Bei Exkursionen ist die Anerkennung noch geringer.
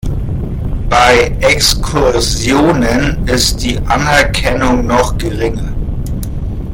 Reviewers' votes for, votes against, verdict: 0, 2, rejected